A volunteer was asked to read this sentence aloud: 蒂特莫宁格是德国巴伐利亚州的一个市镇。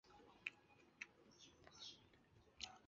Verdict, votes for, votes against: rejected, 1, 2